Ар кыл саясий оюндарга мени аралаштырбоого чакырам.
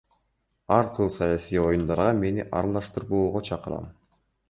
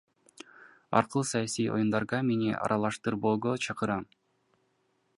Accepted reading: first